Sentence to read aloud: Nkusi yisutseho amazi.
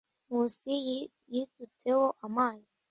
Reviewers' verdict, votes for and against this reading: rejected, 0, 2